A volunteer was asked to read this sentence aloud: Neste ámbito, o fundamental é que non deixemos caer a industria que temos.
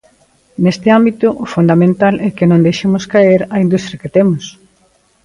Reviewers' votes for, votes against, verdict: 2, 0, accepted